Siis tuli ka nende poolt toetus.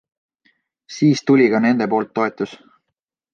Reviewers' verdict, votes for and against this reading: accepted, 2, 0